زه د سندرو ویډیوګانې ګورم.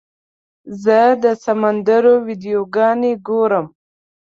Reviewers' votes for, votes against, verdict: 0, 2, rejected